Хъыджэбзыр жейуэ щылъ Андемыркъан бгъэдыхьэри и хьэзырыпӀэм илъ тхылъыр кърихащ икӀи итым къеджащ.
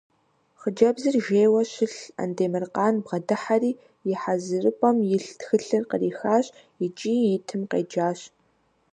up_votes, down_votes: 2, 0